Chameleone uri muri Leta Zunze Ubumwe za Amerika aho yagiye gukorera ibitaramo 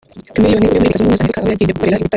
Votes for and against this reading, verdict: 0, 2, rejected